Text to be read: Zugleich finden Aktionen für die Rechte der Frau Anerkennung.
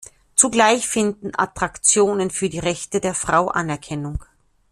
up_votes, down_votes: 0, 2